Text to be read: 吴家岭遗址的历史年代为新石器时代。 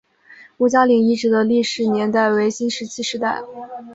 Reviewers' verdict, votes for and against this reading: accepted, 3, 0